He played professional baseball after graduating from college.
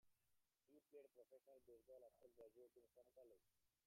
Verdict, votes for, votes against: rejected, 0, 2